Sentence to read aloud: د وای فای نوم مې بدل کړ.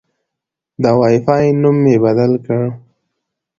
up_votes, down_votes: 2, 1